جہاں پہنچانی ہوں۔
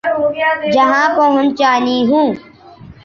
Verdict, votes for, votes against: accepted, 3, 0